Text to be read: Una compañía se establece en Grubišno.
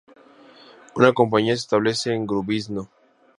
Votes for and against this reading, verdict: 2, 0, accepted